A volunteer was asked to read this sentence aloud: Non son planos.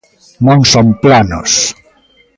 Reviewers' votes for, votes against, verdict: 1, 2, rejected